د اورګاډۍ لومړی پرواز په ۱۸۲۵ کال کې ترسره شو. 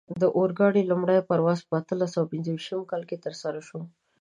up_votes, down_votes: 0, 2